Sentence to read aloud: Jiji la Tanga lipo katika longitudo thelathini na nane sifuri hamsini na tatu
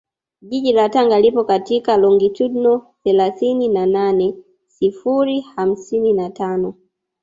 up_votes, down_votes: 1, 2